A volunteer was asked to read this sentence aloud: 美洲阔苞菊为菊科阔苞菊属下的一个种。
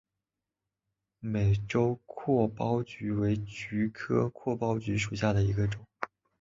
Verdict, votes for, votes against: accepted, 3, 0